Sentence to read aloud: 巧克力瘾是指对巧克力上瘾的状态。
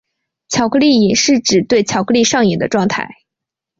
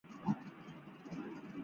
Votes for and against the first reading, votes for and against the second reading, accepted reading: 2, 0, 0, 2, first